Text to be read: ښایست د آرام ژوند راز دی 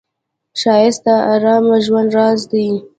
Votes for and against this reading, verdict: 2, 0, accepted